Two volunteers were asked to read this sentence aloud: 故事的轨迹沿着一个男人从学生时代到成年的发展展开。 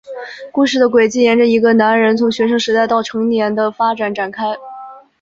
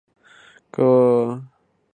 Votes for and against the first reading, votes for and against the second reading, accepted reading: 2, 0, 0, 3, first